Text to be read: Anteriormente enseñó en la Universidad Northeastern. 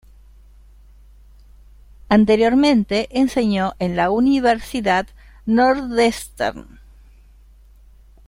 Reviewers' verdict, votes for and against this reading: rejected, 0, 2